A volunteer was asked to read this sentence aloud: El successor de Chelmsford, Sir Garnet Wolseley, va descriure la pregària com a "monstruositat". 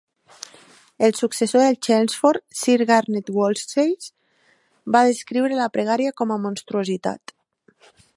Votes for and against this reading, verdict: 2, 3, rejected